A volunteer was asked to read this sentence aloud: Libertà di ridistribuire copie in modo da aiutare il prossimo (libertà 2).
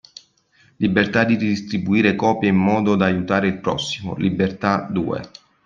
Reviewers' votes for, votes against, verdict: 0, 2, rejected